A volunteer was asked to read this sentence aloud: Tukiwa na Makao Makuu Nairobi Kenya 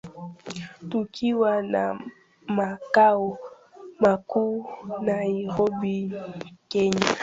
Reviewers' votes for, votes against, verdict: 0, 2, rejected